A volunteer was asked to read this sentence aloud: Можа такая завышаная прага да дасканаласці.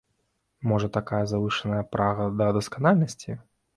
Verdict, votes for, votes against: rejected, 0, 3